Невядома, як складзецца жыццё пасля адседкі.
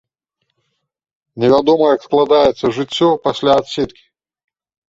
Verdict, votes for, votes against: rejected, 1, 2